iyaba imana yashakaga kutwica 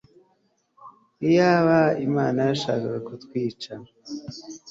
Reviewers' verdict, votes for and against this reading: accepted, 3, 0